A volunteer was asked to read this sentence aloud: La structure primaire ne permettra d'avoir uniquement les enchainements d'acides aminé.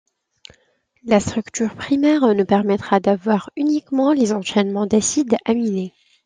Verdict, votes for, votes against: accepted, 2, 0